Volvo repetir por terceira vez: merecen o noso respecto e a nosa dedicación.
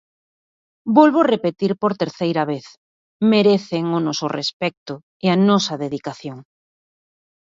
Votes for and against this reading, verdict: 2, 1, accepted